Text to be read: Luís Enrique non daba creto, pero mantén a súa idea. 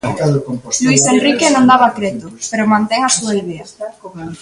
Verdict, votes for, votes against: accepted, 2, 1